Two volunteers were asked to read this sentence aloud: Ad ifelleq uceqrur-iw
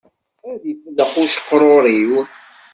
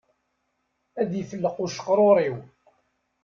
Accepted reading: second